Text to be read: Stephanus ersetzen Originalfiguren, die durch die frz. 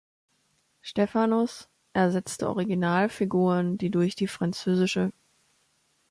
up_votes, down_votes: 0, 2